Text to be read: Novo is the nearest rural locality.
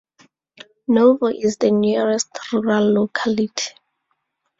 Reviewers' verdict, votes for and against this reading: rejected, 0, 2